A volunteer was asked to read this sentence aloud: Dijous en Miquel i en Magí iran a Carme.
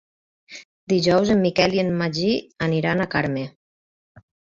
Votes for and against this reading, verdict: 2, 4, rejected